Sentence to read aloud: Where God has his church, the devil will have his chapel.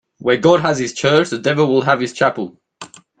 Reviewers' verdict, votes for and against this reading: accepted, 2, 0